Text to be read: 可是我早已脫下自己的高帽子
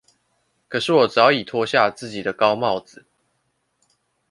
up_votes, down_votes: 0, 2